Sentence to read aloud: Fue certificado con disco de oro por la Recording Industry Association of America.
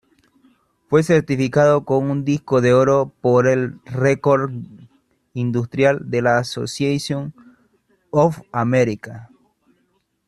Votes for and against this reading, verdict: 0, 2, rejected